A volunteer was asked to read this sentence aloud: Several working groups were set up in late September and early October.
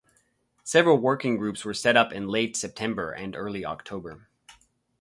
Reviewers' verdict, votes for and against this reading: accepted, 4, 0